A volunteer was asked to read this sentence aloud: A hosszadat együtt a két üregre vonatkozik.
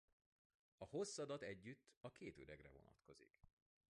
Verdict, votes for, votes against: accepted, 2, 1